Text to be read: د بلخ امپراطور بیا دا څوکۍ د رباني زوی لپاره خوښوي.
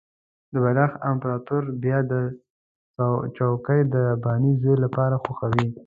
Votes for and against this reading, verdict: 0, 2, rejected